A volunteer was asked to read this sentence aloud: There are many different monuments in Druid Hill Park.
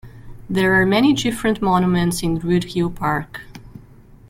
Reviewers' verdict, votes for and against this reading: rejected, 0, 2